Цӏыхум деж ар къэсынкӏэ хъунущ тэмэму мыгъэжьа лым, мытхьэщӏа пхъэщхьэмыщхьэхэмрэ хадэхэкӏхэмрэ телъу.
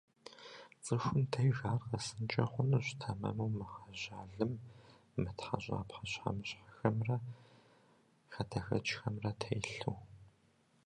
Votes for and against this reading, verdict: 2, 0, accepted